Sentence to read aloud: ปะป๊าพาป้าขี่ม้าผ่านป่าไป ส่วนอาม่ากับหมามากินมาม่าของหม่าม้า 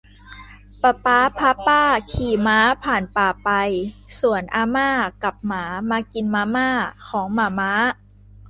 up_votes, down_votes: 2, 0